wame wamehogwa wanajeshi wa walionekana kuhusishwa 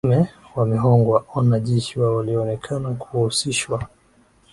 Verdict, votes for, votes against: accepted, 2, 0